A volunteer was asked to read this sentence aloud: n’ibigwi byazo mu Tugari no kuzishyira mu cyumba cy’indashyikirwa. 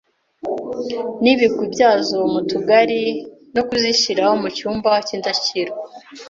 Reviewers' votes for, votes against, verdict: 2, 0, accepted